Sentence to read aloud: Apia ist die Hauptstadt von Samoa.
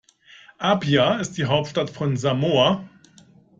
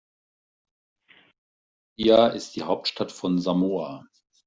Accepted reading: first